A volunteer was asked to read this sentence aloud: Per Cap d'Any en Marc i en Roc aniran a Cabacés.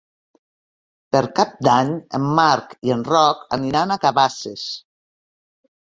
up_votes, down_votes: 1, 2